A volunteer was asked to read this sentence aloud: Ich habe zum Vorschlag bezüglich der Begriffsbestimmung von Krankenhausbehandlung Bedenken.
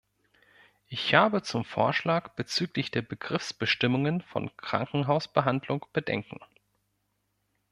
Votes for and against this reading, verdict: 0, 2, rejected